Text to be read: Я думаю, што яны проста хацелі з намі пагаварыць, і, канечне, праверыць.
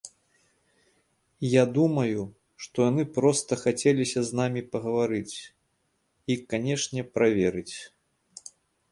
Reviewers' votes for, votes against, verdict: 0, 2, rejected